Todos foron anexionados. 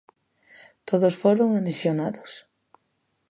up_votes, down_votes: 2, 0